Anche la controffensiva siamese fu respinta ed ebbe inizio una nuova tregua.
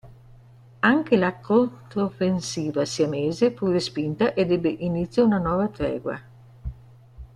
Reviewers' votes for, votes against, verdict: 1, 2, rejected